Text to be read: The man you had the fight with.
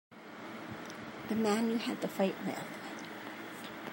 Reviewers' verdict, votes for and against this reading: accepted, 2, 0